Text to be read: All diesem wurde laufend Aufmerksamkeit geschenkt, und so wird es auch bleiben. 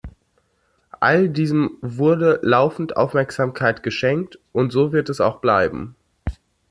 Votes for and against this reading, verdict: 2, 0, accepted